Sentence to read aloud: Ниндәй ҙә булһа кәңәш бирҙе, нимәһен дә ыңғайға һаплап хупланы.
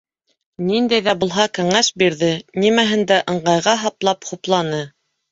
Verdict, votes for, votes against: accepted, 2, 0